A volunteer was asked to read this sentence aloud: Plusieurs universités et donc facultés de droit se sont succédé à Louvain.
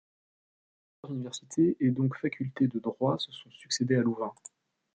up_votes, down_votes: 1, 3